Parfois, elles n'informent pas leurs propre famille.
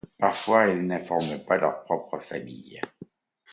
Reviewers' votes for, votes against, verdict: 2, 0, accepted